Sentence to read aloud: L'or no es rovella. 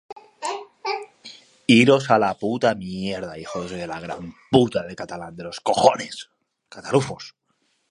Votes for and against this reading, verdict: 0, 2, rejected